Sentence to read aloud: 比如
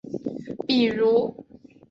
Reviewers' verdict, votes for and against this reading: accepted, 3, 0